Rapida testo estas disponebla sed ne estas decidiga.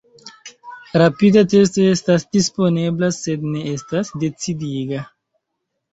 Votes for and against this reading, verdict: 0, 2, rejected